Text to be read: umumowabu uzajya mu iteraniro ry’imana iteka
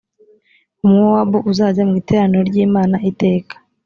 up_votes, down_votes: 4, 0